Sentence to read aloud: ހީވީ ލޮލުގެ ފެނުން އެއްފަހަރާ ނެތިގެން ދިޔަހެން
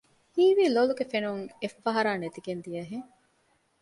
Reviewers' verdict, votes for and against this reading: accepted, 2, 0